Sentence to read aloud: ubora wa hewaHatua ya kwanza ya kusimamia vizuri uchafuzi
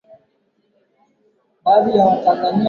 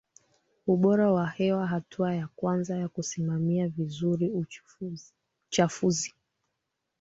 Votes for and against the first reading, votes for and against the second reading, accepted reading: 5, 11, 2, 1, second